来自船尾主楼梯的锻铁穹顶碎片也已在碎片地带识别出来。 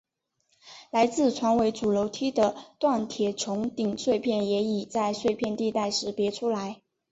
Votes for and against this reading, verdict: 2, 1, accepted